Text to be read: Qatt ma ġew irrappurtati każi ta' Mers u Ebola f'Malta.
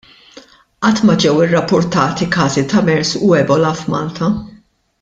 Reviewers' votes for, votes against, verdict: 2, 0, accepted